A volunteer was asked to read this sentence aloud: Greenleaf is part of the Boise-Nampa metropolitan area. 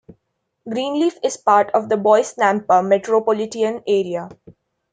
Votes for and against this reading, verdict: 1, 2, rejected